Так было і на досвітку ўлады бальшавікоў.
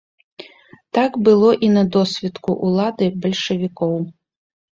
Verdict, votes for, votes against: rejected, 1, 2